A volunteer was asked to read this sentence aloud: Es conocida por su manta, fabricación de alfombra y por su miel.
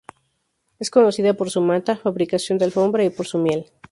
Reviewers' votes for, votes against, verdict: 2, 0, accepted